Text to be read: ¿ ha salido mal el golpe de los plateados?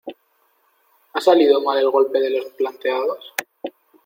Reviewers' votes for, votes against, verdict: 2, 0, accepted